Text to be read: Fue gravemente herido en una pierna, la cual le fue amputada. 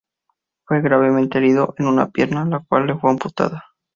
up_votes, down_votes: 2, 0